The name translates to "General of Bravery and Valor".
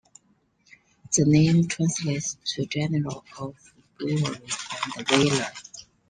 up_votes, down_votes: 2, 0